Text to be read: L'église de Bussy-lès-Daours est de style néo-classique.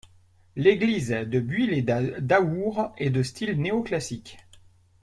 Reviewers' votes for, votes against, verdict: 0, 2, rejected